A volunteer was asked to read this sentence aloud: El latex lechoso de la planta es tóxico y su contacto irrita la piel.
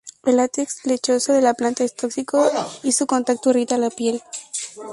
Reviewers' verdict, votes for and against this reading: accepted, 4, 0